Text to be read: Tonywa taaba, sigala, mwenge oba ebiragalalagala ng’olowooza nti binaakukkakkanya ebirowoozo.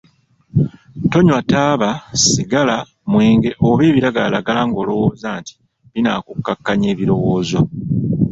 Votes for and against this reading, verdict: 1, 2, rejected